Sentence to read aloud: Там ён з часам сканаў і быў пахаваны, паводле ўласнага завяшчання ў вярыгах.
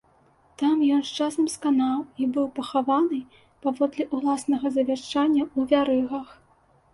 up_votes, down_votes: 2, 0